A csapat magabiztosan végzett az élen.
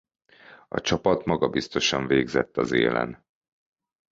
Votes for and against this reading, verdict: 2, 0, accepted